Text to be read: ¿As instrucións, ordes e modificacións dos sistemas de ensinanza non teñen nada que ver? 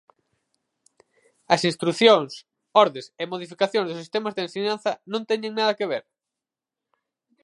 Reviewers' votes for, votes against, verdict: 0, 4, rejected